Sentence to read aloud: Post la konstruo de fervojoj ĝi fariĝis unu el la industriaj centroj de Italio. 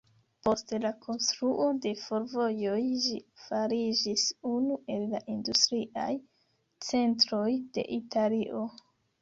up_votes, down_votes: 1, 2